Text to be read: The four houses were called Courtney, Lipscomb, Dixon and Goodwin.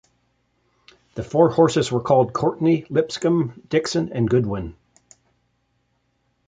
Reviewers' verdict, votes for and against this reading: rejected, 1, 2